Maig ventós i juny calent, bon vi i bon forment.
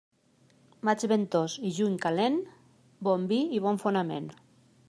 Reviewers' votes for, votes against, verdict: 0, 2, rejected